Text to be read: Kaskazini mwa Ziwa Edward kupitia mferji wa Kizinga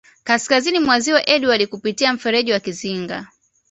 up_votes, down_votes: 2, 0